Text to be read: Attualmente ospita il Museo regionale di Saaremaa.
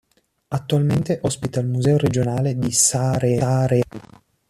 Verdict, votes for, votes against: rejected, 1, 2